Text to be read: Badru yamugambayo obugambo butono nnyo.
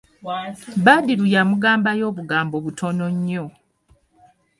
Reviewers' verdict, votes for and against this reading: accepted, 2, 0